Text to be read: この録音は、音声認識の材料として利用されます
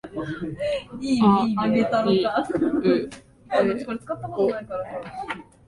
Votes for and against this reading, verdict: 1, 2, rejected